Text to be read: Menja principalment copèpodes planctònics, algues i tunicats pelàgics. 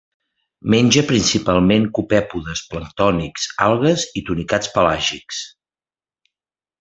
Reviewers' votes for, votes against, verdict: 2, 0, accepted